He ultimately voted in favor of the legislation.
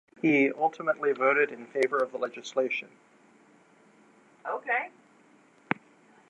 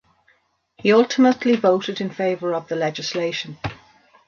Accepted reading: second